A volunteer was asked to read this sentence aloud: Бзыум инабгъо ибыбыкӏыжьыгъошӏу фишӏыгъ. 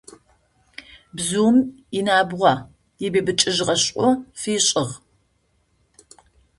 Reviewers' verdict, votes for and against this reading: rejected, 0, 2